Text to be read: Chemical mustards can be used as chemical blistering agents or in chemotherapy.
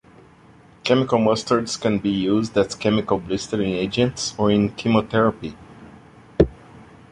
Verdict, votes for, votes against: accepted, 2, 0